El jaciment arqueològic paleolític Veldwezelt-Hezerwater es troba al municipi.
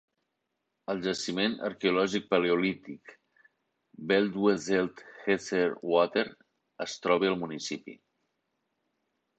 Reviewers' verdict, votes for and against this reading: rejected, 0, 2